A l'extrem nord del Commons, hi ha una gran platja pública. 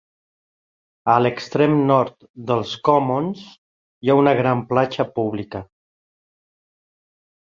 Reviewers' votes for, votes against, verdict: 1, 2, rejected